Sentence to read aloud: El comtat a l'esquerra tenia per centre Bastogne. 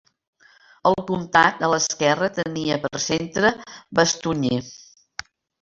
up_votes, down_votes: 0, 2